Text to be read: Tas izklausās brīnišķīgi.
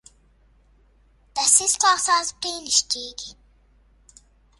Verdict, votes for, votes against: accepted, 2, 0